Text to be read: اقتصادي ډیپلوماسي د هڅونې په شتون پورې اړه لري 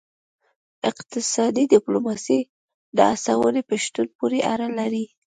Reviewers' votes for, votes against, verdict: 2, 1, accepted